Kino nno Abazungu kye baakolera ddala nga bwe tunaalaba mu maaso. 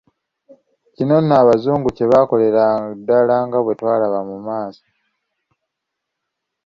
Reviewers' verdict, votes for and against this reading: rejected, 1, 2